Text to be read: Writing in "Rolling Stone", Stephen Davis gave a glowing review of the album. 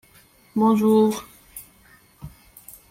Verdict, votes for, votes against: rejected, 1, 2